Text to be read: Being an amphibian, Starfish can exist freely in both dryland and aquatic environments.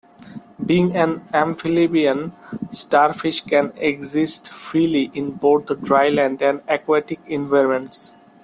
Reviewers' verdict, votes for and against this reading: rejected, 0, 2